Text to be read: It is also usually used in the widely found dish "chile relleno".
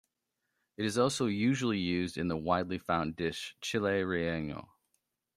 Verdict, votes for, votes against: accepted, 2, 0